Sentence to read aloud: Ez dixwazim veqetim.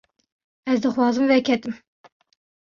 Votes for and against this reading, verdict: 1, 2, rejected